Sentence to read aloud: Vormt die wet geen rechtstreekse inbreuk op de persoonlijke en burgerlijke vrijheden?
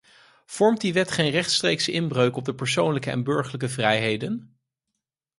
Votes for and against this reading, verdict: 4, 0, accepted